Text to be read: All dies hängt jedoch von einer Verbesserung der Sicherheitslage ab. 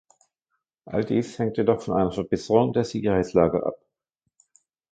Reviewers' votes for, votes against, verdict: 0, 2, rejected